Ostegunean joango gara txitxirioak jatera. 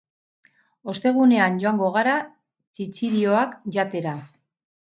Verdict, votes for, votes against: rejected, 0, 2